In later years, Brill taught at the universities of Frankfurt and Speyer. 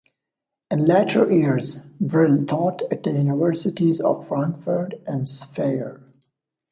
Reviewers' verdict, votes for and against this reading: accepted, 2, 0